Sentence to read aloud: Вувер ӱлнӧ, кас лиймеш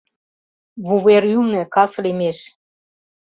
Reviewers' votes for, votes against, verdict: 2, 0, accepted